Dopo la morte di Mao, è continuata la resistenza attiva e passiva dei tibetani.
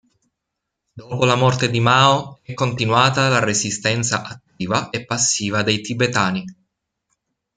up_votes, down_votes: 2, 1